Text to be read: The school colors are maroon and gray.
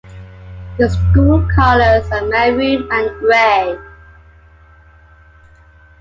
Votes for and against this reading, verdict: 0, 2, rejected